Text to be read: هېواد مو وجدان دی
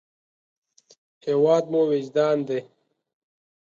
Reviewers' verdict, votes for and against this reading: accepted, 2, 0